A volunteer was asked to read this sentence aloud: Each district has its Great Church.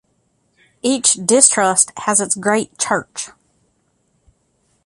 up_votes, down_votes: 0, 2